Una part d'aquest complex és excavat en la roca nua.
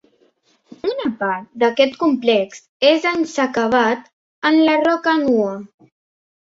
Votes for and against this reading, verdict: 0, 2, rejected